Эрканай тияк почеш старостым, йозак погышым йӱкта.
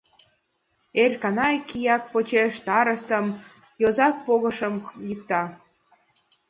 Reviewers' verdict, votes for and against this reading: accepted, 2, 0